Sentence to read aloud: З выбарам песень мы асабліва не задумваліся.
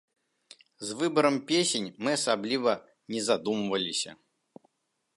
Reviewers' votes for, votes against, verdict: 2, 0, accepted